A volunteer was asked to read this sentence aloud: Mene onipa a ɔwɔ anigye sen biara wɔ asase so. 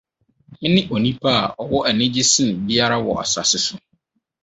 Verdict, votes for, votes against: accepted, 4, 0